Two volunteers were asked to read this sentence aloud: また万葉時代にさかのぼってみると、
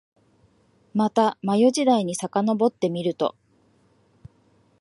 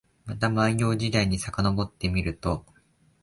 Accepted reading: second